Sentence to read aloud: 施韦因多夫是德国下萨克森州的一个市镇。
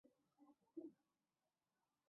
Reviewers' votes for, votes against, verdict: 0, 2, rejected